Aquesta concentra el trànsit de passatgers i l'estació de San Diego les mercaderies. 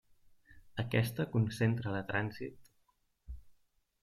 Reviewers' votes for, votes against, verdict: 0, 2, rejected